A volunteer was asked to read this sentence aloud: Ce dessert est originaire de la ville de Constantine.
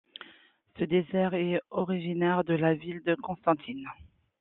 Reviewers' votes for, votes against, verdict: 2, 0, accepted